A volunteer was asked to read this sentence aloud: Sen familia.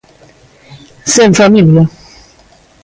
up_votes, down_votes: 2, 0